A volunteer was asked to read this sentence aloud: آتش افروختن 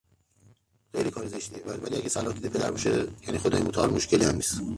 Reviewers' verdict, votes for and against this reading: rejected, 0, 2